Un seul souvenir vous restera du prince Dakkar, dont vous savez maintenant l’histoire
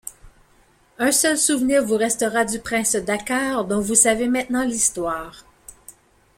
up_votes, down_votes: 2, 0